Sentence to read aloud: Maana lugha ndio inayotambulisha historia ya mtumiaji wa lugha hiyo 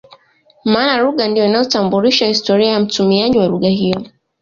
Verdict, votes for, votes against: accepted, 2, 1